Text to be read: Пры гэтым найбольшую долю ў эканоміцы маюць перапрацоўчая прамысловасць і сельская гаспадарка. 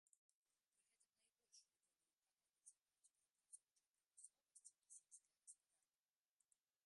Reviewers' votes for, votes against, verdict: 1, 2, rejected